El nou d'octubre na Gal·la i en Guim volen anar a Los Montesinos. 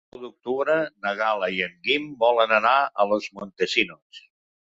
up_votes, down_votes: 0, 3